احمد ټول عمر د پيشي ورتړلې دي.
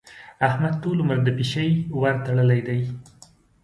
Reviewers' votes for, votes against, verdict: 2, 0, accepted